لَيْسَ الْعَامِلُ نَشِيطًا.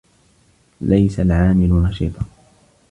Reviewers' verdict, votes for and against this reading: accepted, 2, 0